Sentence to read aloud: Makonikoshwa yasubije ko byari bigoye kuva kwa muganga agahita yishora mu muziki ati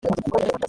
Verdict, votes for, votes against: rejected, 1, 2